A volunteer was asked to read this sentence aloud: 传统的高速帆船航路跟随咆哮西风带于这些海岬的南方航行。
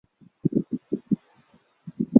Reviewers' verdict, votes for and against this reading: rejected, 1, 2